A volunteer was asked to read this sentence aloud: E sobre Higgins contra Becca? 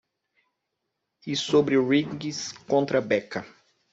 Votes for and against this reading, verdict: 1, 2, rejected